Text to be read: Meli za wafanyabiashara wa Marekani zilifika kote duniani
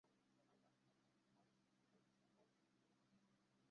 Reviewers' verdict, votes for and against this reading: rejected, 0, 2